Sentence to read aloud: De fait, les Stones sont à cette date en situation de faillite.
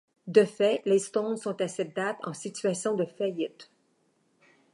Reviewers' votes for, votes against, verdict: 2, 0, accepted